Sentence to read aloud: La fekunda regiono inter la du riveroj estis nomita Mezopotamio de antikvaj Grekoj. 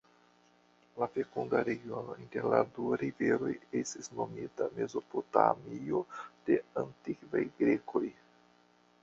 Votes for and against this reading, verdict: 2, 1, accepted